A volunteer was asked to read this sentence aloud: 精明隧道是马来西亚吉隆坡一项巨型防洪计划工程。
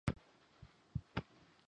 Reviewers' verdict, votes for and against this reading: rejected, 1, 3